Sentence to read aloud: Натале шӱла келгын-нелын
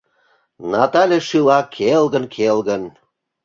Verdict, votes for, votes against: rejected, 0, 2